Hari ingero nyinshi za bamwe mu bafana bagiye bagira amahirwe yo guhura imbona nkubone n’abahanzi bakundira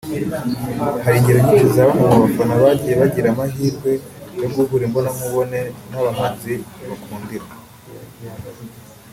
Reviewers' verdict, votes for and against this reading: accepted, 2, 0